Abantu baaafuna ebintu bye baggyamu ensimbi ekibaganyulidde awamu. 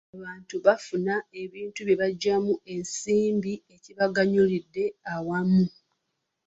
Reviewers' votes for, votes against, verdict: 1, 2, rejected